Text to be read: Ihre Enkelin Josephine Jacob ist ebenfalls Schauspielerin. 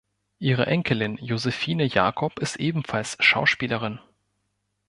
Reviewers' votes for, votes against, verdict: 2, 0, accepted